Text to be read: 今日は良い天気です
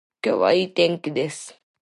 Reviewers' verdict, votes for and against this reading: accepted, 2, 0